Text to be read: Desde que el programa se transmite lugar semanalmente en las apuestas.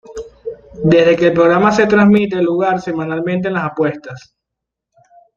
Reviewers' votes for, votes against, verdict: 2, 1, accepted